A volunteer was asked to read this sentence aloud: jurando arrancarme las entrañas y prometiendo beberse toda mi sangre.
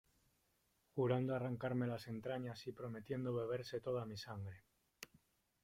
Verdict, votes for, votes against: accepted, 2, 1